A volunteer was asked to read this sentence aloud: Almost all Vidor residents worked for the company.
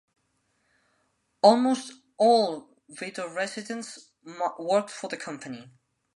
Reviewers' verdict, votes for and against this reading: rejected, 2, 5